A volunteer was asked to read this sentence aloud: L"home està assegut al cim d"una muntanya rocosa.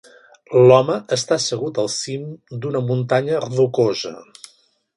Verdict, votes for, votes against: accepted, 3, 1